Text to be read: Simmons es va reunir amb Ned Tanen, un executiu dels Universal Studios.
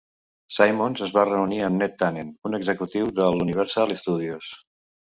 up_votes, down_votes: 0, 2